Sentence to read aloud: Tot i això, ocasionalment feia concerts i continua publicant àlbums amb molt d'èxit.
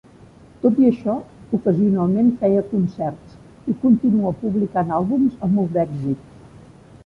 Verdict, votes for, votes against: accepted, 4, 0